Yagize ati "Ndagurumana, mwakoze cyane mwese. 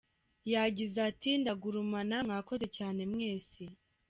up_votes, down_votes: 1, 2